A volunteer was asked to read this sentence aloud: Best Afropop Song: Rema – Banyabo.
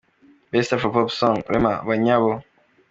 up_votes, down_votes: 3, 1